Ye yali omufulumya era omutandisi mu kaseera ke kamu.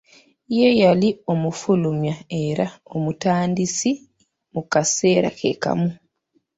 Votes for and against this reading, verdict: 0, 2, rejected